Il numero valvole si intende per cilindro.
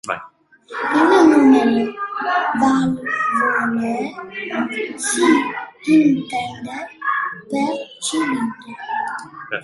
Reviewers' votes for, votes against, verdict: 0, 2, rejected